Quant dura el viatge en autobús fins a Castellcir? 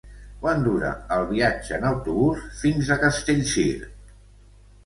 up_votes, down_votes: 1, 2